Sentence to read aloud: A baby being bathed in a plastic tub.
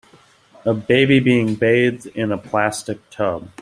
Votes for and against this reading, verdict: 2, 0, accepted